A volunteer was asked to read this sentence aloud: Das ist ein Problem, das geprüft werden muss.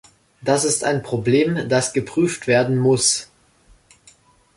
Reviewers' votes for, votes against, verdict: 2, 0, accepted